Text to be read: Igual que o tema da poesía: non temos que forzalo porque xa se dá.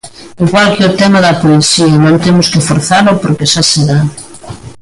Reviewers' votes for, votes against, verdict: 2, 0, accepted